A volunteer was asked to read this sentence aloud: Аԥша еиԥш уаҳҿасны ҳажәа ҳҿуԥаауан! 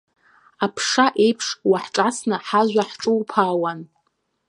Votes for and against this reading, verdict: 2, 0, accepted